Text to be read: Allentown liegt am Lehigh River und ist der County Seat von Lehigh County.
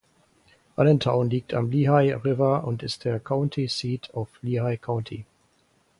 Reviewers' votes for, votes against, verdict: 0, 4, rejected